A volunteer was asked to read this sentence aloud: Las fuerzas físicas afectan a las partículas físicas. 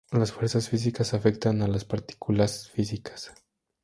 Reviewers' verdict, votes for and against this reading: accepted, 6, 0